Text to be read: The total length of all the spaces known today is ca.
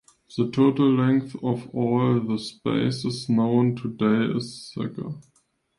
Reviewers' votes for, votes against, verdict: 2, 1, accepted